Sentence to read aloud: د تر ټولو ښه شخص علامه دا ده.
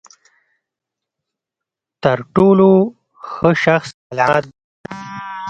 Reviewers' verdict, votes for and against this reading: rejected, 0, 2